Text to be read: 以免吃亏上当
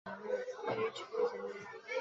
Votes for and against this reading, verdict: 0, 3, rejected